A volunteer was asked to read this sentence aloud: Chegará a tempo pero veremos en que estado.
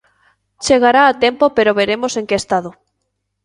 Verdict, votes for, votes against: accepted, 2, 0